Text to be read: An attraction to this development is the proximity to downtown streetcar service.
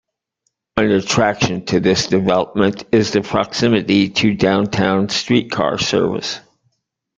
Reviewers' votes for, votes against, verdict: 2, 0, accepted